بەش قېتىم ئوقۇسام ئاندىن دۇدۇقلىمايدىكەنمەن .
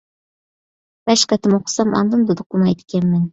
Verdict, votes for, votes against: accepted, 2, 0